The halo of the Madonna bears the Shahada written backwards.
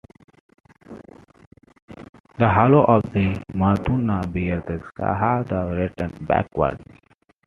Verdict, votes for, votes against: accepted, 2, 0